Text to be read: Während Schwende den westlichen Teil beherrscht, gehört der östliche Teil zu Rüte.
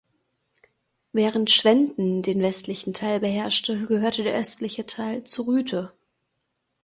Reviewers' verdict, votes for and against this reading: rejected, 0, 2